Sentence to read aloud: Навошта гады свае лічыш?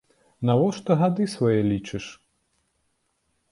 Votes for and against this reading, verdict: 2, 0, accepted